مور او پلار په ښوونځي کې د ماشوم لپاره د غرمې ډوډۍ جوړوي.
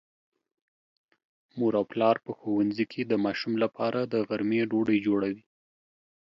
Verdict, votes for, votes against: rejected, 1, 2